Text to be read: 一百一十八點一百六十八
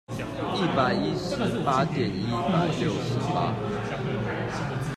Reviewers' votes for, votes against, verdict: 0, 2, rejected